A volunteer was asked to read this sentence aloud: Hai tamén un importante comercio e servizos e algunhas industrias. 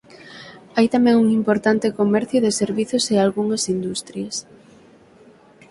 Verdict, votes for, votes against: rejected, 3, 6